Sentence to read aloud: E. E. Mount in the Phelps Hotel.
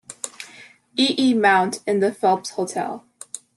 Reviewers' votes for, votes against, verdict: 2, 0, accepted